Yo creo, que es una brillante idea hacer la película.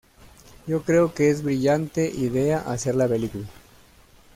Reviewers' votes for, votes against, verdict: 1, 2, rejected